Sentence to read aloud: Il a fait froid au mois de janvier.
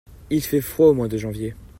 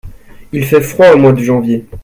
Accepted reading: first